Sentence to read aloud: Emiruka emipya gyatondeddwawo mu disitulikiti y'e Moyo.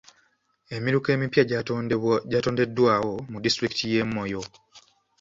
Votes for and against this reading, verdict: 2, 0, accepted